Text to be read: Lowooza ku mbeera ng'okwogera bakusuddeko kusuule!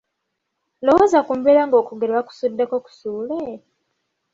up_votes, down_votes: 2, 1